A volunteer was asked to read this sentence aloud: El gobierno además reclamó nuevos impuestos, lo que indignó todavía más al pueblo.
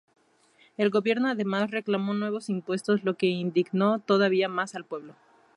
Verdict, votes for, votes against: accepted, 2, 0